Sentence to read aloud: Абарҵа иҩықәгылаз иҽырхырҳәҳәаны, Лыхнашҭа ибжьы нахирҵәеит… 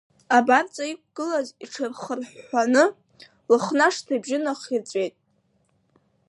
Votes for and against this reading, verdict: 2, 0, accepted